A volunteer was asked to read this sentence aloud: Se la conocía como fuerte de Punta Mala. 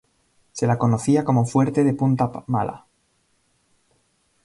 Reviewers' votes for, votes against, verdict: 2, 1, accepted